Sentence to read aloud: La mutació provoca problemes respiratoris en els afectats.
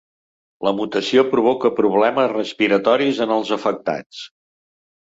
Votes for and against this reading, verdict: 2, 0, accepted